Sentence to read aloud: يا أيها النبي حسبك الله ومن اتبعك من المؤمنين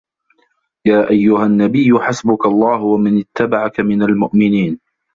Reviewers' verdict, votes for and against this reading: rejected, 0, 2